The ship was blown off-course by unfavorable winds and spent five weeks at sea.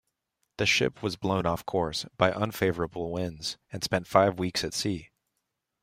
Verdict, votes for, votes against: rejected, 1, 2